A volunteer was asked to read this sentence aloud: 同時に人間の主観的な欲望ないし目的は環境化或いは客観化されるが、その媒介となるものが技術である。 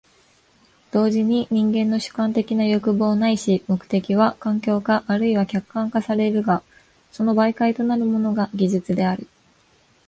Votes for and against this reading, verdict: 2, 0, accepted